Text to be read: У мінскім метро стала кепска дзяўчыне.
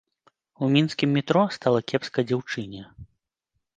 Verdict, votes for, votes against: accepted, 2, 0